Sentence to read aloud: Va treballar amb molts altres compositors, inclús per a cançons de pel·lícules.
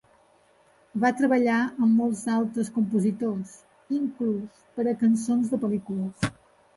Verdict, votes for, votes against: accepted, 3, 0